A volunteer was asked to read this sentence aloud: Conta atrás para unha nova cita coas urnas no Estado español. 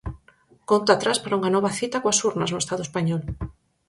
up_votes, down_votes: 4, 0